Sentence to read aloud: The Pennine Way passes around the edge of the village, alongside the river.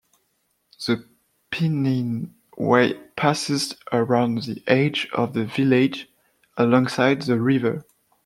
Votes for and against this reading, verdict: 1, 2, rejected